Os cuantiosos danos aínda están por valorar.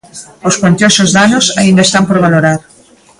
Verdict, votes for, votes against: accepted, 2, 0